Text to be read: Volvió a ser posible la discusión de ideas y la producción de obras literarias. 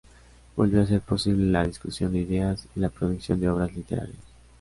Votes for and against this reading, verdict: 0, 2, rejected